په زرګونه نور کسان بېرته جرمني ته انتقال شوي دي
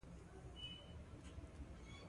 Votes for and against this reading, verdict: 2, 1, accepted